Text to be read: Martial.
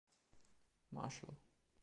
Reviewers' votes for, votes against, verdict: 1, 2, rejected